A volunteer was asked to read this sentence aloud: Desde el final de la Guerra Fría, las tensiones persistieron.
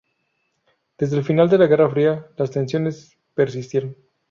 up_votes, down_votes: 2, 2